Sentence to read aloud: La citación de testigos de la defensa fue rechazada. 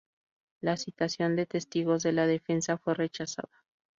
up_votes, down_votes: 2, 0